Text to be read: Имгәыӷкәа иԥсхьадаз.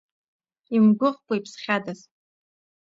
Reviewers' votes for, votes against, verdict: 2, 0, accepted